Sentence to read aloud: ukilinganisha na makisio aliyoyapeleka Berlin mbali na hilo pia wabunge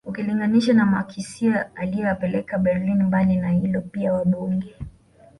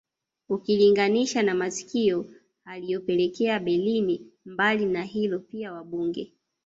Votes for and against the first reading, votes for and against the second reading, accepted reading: 2, 1, 1, 2, first